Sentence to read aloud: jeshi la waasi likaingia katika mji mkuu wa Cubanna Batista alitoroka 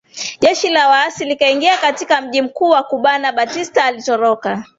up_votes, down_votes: 3, 0